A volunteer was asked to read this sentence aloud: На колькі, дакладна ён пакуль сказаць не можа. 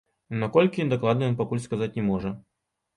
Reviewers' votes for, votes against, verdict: 2, 0, accepted